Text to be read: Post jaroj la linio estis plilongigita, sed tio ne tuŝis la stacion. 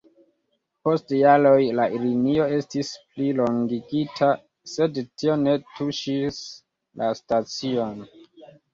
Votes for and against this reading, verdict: 1, 2, rejected